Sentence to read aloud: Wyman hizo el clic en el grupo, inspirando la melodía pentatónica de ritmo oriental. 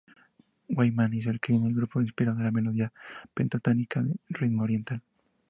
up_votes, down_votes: 0, 2